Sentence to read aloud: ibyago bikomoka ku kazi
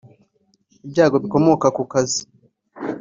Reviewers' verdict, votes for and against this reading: accepted, 3, 0